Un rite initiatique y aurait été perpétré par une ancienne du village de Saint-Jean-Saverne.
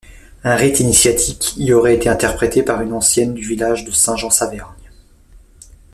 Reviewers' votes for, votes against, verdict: 0, 2, rejected